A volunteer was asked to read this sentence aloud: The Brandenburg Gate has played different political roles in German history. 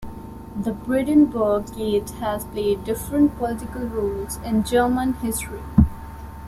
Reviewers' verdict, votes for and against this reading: rejected, 1, 2